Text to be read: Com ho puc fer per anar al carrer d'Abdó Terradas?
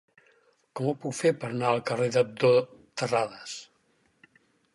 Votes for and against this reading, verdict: 4, 0, accepted